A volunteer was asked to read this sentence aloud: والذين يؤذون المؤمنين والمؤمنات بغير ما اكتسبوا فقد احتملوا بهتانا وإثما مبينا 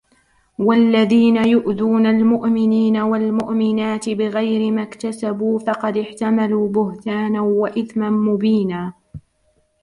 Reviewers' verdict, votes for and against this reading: accepted, 2, 0